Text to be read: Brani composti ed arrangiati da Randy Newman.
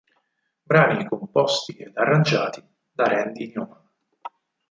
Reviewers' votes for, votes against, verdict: 0, 8, rejected